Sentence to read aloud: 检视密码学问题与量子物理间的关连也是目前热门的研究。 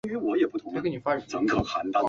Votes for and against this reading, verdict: 0, 4, rejected